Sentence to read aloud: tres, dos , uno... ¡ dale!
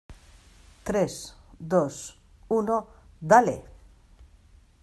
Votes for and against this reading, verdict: 2, 0, accepted